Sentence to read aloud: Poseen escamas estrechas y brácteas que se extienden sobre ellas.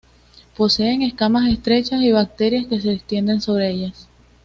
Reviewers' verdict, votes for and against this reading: accepted, 2, 0